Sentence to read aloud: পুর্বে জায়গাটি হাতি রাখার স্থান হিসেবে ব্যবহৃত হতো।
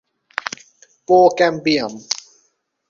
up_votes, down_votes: 0, 3